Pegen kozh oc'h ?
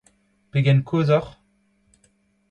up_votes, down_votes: 2, 0